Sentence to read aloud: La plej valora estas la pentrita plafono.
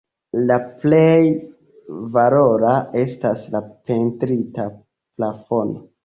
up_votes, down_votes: 2, 0